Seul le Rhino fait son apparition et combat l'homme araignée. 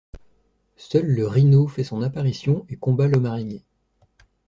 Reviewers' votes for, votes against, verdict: 2, 0, accepted